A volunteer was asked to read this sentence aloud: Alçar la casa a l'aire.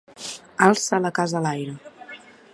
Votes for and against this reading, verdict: 1, 2, rejected